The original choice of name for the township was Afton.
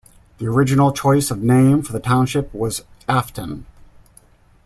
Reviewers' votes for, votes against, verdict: 2, 0, accepted